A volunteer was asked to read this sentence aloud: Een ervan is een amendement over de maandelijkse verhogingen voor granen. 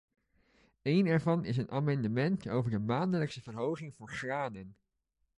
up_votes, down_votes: 1, 2